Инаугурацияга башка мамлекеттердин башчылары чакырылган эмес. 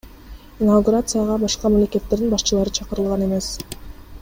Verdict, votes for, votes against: rejected, 1, 2